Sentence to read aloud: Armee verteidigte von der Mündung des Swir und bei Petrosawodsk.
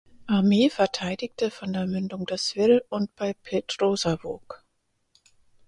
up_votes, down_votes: 2, 4